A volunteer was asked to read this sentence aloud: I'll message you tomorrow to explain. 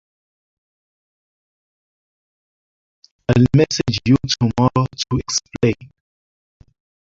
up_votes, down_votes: 0, 2